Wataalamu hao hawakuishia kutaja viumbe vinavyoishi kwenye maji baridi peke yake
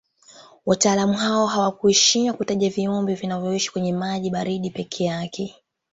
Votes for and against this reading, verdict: 2, 1, accepted